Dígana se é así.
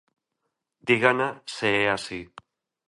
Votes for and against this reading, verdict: 2, 0, accepted